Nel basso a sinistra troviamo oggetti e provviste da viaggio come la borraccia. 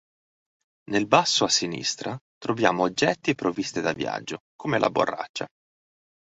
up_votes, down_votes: 3, 0